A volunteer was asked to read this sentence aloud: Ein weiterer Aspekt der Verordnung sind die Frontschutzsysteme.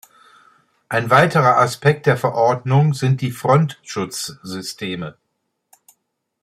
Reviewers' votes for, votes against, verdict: 2, 0, accepted